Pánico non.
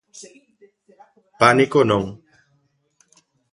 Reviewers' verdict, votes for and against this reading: accepted, 2, 1